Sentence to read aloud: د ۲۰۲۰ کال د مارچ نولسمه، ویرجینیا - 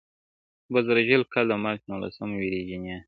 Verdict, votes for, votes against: rejected, 0, 2